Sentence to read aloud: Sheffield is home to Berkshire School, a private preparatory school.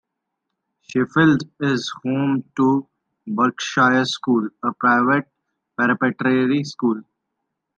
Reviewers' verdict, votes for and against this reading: rejected, 1, 2